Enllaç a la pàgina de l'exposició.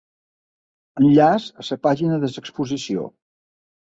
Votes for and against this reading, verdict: 0, 2, rejected